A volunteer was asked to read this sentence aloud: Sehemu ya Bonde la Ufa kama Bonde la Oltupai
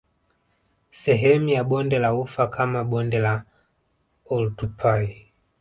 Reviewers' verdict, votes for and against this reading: rejected, 1, 2